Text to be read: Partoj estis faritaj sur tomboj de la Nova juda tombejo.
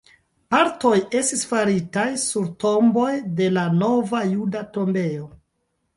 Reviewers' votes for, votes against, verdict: 3, 4, rejected